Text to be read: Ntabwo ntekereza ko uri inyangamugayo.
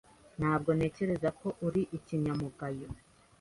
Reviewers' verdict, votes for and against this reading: rejected, 1, 2